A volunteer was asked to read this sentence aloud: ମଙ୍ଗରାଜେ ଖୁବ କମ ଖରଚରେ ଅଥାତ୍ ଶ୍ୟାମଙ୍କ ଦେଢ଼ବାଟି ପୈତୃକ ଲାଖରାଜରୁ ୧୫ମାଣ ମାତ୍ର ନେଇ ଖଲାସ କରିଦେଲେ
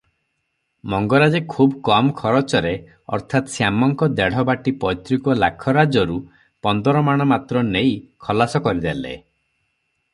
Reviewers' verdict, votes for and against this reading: rejected, 0, 2